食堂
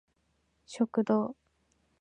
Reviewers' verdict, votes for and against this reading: accepted, 2, 0